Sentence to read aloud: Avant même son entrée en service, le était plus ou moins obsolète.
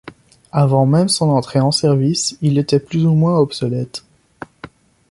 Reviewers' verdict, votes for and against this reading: rejected, 1, 2